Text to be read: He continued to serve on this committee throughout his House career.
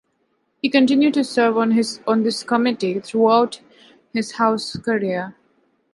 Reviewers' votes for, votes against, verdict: 1, 2, rejected